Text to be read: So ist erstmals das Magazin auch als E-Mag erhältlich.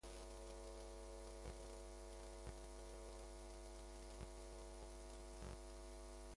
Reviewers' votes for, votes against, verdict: 0, 2, rejected